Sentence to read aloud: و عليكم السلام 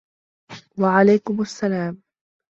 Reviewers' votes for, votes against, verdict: 2, 1, accepted